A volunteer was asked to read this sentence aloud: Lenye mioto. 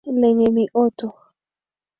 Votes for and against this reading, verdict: 2, 1, accepted